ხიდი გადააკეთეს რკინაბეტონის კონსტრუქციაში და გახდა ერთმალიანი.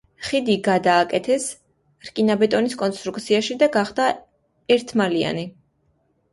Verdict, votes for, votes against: accepted, 2, 0